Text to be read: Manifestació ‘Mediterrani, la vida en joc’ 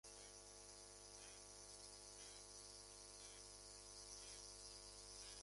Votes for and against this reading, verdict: 0, 2, rejected